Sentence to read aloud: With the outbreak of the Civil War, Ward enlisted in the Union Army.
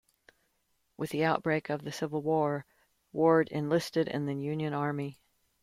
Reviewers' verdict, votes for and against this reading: accepted, 2, 0